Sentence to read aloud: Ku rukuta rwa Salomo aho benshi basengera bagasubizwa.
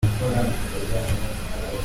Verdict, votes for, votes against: rejected, 0, 3